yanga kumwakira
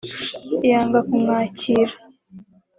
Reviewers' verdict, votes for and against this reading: accepted, 5, 0